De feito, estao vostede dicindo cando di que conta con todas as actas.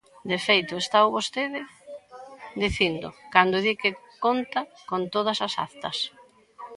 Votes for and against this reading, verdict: 1, 2, rejected